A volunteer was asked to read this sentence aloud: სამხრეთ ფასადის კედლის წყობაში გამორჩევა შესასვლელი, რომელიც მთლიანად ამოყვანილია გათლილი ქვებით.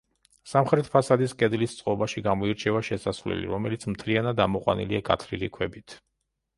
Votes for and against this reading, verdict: 0, 2, rejected